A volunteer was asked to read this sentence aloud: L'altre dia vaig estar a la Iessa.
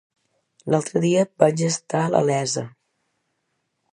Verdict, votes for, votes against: rejected, 1, 2